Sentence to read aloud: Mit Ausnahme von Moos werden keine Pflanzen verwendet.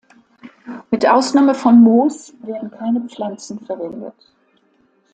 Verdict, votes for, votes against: accepted, 2, 0